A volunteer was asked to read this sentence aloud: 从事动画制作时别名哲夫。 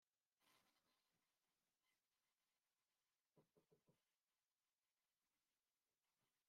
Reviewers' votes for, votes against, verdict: 0, 2, rejected